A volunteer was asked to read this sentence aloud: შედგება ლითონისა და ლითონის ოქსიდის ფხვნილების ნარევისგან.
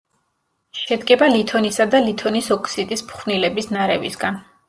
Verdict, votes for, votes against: accepted, 2, 0